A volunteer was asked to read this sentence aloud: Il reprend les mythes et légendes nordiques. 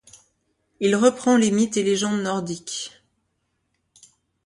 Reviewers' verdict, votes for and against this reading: accepted, 2, 1